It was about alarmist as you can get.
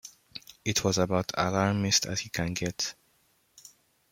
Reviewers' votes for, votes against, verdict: 2, 0, accepted